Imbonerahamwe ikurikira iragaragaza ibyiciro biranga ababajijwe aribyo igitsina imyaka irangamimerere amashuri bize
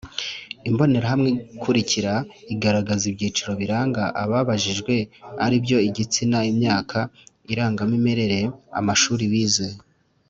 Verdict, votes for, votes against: accepted, 2, 0